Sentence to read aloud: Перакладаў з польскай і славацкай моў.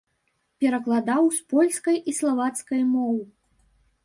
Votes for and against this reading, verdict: 2, 0, accepted